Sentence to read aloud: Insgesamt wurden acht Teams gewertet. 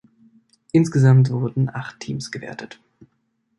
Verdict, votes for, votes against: accepted, 3, 0